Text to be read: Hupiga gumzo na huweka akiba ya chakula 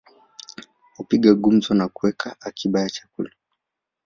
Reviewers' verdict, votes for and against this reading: accepted, 2, 1